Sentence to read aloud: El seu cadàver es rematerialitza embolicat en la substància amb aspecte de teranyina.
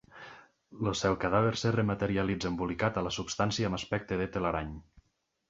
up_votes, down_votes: 0, 2